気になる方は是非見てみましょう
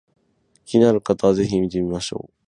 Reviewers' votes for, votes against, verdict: 6, 0, accepted